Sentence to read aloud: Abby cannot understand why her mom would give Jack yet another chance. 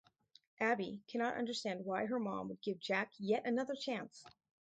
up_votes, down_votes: 0, 4